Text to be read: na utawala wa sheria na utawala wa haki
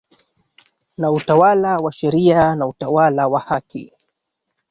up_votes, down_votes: 1, 2